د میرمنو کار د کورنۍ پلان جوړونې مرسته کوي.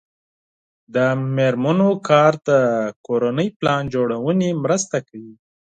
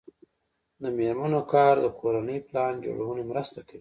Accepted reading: first